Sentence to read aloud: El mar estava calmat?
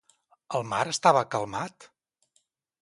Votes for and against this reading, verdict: 4, 0, accepted